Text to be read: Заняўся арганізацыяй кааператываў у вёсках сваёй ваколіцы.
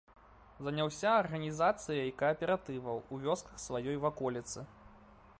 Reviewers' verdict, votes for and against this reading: rejected, 0, 2